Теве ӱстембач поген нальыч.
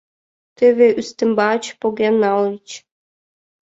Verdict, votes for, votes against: rejected, 1, 2